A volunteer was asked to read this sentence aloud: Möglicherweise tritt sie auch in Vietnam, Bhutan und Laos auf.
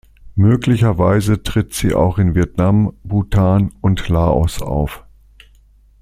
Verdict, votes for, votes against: accepted, 2, 0